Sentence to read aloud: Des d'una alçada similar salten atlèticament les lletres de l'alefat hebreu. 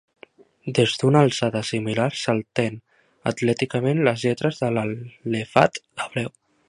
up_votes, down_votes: 2, 1